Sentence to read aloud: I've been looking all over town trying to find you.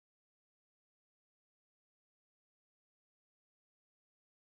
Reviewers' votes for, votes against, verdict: 0, 2, rejected